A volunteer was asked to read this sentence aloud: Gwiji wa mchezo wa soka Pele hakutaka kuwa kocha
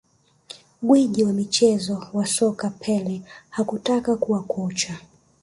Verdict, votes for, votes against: accepted, 2, 1